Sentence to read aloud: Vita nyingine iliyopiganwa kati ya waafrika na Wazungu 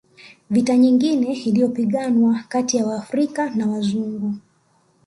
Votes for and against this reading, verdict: 2, 0, accepted